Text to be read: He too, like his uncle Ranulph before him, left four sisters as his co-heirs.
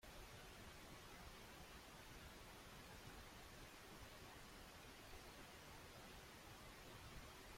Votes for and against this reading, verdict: 0, 2, rejected